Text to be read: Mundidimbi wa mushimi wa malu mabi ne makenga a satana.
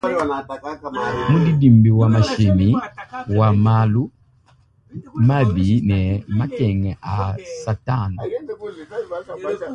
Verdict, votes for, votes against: rejected, 0, 2